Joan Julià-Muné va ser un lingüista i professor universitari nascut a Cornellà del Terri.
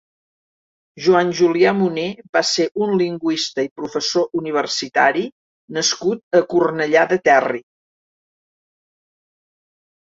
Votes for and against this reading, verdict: 1, 2, rejected